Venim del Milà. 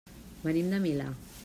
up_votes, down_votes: 2, 1